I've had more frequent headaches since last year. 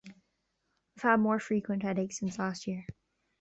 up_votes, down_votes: 2, 0